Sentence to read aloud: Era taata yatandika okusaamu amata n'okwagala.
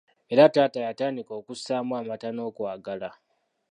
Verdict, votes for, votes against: accepted, 2, 0